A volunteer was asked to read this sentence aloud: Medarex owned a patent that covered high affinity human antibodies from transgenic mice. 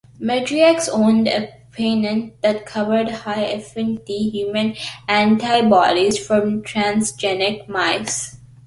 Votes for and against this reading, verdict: 1, 2, rejected